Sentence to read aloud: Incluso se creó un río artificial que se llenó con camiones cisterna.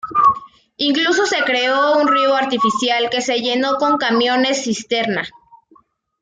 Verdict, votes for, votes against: accepted, 2, 0